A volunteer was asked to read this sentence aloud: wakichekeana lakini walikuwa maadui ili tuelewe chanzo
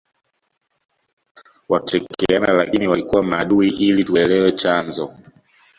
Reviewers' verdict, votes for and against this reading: accepted, 2, 0